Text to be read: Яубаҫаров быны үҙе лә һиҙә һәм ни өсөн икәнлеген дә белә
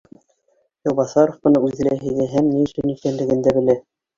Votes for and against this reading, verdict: 0, 2, rejected